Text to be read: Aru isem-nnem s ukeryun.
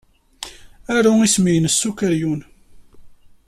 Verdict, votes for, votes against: accepted, 2, 1